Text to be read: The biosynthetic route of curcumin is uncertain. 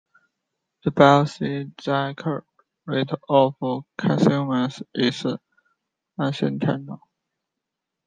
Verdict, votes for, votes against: rejected, 0, 2